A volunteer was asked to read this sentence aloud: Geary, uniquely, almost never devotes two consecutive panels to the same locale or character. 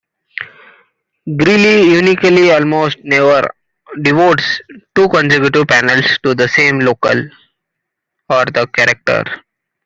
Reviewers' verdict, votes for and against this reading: rejected, 0, 2